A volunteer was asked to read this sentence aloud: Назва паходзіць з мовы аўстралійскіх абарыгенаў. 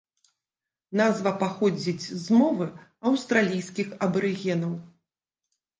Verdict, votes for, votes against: rejected, 1, 2